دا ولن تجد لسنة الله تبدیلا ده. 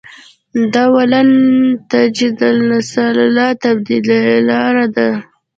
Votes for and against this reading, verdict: 1, 2, rejected